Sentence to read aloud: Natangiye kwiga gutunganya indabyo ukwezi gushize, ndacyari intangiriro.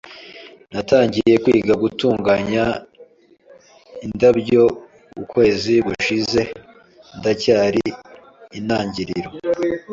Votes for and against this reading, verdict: 2, 0, accepted